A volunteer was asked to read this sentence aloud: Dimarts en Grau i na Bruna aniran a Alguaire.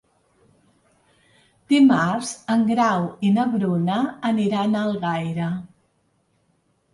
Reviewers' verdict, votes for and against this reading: rejected, 0, 2